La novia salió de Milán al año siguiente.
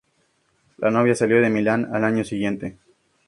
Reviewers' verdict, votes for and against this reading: accepted, 2, 0